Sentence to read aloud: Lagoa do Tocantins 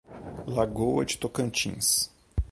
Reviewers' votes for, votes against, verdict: 1, 2, rejected